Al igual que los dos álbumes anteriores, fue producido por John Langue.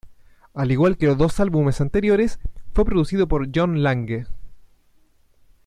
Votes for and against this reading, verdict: 1, 2, rejected